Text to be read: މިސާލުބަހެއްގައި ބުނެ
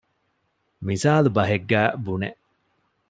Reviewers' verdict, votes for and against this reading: accepted, 2, 0